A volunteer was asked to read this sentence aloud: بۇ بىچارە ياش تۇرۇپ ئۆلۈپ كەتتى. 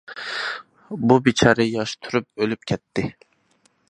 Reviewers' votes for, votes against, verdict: 2, 0, accepted